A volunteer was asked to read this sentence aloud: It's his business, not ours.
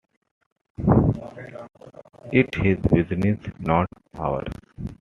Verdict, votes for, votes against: accepted, 2, 1